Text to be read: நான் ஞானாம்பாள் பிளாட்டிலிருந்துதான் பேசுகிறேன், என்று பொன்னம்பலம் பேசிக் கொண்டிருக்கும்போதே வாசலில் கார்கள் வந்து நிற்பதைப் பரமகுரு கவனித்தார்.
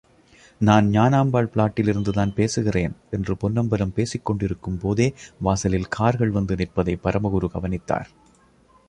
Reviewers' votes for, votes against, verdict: 2, 1, accepted